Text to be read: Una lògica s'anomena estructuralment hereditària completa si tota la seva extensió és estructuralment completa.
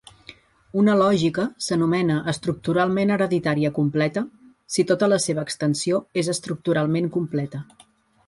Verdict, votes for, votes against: accepted, 2, 0